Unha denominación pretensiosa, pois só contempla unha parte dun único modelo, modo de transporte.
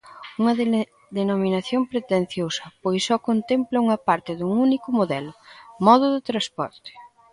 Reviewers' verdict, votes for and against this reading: rejected, 0, 2